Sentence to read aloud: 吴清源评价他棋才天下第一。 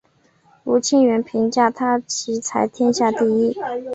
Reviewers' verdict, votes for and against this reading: accepted, 3, 0